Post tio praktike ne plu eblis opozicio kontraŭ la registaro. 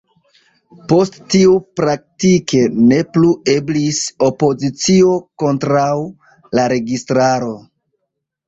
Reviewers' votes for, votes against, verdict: 0, 2, rejected